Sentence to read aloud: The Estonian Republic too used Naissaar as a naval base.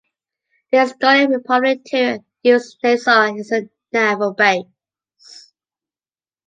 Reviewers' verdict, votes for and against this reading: accepted, 2, 1